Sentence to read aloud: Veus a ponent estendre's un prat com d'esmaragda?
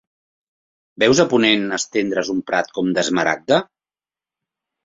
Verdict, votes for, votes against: accepted, 2, 0